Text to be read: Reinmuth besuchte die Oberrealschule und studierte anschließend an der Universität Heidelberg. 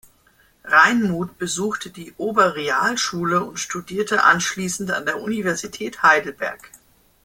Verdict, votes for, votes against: accepted, 2, 1